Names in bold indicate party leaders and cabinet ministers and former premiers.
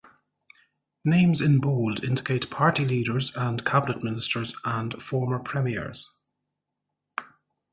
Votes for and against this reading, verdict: 2, 0, accepted